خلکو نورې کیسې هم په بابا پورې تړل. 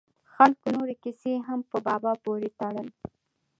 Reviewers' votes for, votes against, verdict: 2, 1, accepted